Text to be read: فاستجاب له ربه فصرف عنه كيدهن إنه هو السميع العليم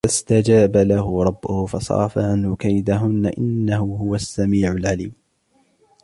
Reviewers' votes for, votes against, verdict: 2, 1, accepted